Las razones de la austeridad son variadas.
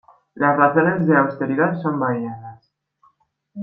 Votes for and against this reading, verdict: 1, 2, rejected